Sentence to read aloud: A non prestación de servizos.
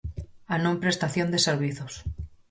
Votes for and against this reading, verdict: 4, 0, accepted